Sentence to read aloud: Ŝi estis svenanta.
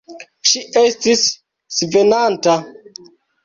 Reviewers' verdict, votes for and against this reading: rejected, 1, 2